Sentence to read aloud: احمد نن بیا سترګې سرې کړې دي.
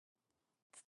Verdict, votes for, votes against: rejected, 1, 2